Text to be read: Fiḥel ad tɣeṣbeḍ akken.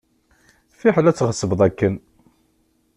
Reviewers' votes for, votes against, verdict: 2, 0, accepted